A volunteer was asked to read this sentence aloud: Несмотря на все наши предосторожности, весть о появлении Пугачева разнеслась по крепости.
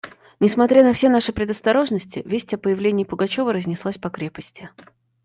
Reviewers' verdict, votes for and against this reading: accepted, 2, 0